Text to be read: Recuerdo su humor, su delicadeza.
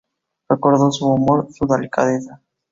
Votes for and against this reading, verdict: 2, 0, accepted